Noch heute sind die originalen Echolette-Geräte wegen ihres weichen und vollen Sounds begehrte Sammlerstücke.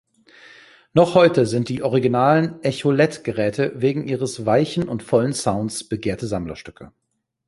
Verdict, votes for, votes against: accepted, 2, 0